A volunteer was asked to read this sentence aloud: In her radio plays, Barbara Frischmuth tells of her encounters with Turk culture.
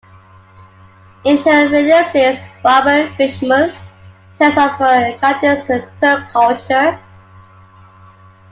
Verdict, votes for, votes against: accepted, 2, 0